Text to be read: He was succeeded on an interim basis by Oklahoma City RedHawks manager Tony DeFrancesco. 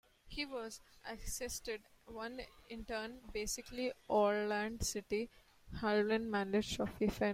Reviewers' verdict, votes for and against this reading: rejected, 0, 2